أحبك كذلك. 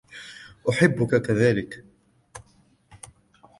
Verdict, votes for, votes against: accepted, 2, 0